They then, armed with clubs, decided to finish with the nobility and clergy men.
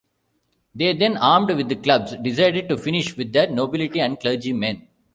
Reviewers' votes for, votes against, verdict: 0, 2, rejected